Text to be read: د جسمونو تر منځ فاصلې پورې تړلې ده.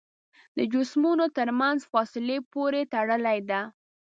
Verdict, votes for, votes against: accepted, 2, 0